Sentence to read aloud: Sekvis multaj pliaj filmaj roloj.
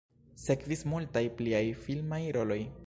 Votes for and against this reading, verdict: 0, 2, rejected